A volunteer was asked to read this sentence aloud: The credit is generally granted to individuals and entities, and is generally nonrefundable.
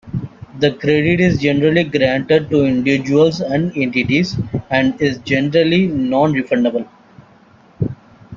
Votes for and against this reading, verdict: 1, 2, rejected